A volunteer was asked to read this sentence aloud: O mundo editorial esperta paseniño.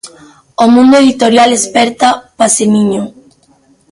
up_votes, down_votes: 1, 2